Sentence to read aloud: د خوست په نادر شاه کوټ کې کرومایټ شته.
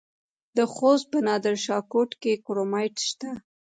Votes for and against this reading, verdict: 2, 0, accepted